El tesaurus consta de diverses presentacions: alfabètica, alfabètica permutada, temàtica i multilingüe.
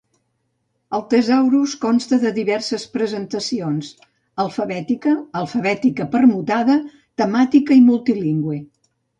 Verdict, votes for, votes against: accepted, 2, 0